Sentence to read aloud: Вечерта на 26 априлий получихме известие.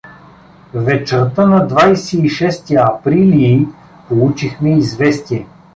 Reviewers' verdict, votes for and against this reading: rejected, 0, 2